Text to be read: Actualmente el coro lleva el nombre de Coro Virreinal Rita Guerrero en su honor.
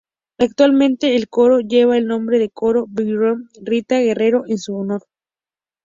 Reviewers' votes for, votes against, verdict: 0, 2, rejected